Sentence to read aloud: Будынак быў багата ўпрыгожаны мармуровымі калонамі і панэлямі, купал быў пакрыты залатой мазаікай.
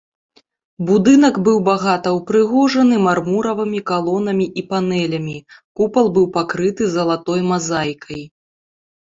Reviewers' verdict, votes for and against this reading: rejected, 1, 2